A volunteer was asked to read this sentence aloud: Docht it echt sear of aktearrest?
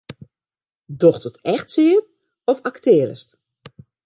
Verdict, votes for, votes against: accepted, 2, 0